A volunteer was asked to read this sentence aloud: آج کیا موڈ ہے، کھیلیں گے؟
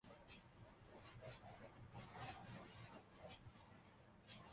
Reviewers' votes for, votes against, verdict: 0, 3, rejected